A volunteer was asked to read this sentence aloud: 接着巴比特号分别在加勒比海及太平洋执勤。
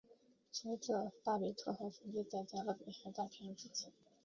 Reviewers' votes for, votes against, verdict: 1, 2, rejected